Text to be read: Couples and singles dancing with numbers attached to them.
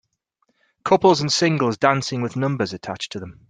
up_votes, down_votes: 4, 0